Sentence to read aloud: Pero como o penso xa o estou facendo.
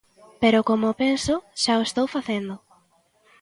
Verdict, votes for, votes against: accepted, 2, 1